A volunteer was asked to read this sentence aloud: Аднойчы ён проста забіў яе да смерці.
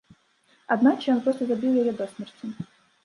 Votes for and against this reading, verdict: 1, 2, rejected